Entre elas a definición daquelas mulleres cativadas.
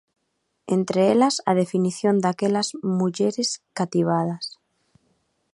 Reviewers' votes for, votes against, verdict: 2, 0, accepted